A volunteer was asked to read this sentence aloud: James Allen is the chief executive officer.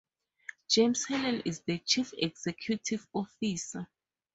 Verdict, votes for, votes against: accepted, 4, 2